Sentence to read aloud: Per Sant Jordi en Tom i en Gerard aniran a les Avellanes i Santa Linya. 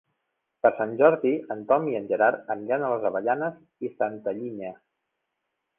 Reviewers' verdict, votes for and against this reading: rejected, 1, 2